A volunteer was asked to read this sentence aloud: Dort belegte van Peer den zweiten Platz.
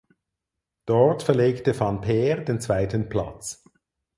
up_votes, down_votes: 0, 4